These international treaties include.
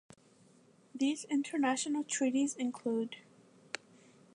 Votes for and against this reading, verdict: 2, 0, accepted